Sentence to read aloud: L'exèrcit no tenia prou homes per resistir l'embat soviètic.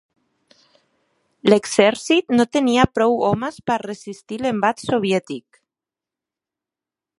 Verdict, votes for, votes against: accepted, 3, 0